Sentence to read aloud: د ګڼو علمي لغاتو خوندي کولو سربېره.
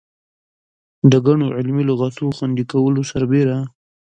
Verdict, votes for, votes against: accepted, 2, 0